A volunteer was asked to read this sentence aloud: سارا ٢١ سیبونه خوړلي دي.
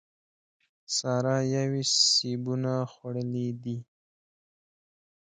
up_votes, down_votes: 0, 2